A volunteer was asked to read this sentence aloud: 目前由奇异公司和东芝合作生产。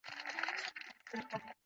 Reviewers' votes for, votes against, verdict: 0, 3, rejected